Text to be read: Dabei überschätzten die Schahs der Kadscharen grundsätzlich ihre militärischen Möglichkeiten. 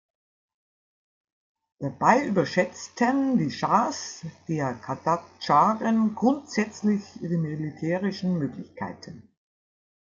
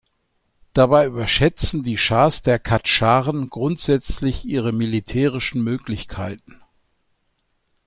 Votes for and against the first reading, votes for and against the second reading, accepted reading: 0, 2, 2, 0, second